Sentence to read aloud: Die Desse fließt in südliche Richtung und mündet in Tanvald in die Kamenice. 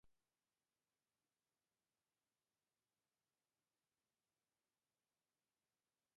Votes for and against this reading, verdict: 0, 2, rejected